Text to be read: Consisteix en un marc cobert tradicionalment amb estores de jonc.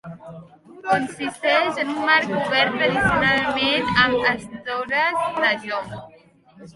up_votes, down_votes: 1, 2